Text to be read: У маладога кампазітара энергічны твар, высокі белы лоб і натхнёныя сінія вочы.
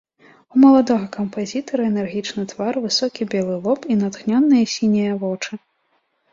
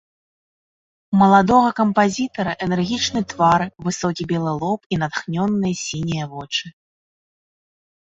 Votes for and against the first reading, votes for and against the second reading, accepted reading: 2, 0, 0, 2, first